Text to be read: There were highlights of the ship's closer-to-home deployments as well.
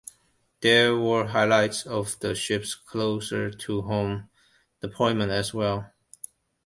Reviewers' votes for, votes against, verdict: 1, 2, rejected